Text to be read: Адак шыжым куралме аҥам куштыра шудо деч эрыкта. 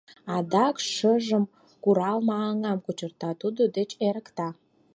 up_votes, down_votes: 0, 4